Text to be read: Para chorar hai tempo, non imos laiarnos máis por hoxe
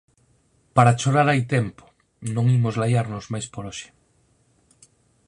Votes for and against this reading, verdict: 6, 0, accepted